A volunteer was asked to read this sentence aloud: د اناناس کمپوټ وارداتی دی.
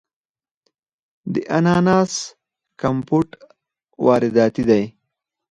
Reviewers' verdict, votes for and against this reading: accepted, 4, 0